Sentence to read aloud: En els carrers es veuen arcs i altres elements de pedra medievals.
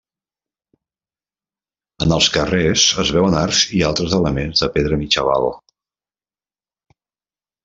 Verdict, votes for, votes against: rejected, 1, 2